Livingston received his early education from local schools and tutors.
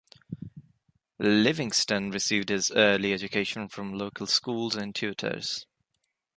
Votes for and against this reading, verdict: 3, 0, accepted